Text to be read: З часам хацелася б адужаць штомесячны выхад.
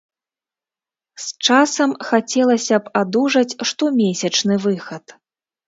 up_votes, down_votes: 2, 1